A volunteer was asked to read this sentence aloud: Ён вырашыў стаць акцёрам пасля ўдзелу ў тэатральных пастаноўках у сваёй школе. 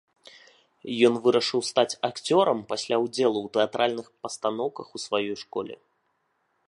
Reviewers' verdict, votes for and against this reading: accepted, 2, 0